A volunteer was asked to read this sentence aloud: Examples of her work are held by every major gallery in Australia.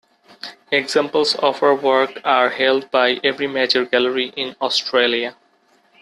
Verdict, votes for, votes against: accepted, 2, 0